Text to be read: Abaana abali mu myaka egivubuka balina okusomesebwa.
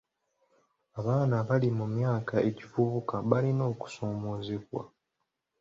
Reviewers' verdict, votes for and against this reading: rejected, 1, 2